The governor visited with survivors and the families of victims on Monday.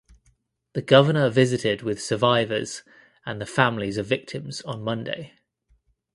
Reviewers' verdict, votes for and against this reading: accepted, 2, 0